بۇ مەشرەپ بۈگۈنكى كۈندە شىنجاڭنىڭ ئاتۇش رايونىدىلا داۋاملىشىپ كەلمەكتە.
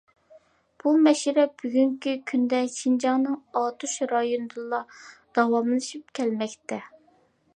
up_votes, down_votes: 2, 0